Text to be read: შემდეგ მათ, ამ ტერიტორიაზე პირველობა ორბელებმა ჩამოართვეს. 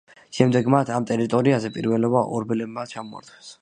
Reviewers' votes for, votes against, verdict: 1, 2, rejected